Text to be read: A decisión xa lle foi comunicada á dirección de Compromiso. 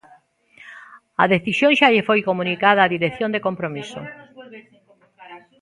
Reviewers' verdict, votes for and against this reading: rejected, 1, 2